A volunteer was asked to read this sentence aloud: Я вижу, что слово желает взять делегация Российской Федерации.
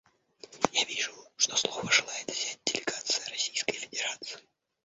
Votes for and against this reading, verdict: 0, 2, rejected